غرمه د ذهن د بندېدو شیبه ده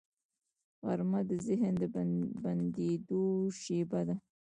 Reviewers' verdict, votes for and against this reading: rejected, 1, 2